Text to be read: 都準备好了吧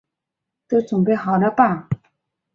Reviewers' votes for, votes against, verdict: 6, 0, accepted